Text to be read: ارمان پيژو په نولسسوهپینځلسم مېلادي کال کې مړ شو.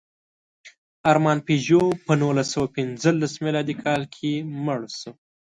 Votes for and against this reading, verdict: 1, 2, rejected